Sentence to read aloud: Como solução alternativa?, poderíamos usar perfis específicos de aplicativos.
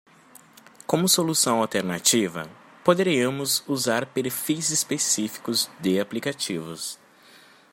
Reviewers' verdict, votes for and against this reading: accepted, 2, 0